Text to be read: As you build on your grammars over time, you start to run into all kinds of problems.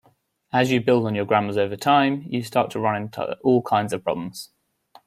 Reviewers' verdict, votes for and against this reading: accepted, 2, 0